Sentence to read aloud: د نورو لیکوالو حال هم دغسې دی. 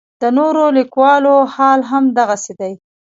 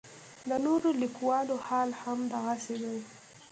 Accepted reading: second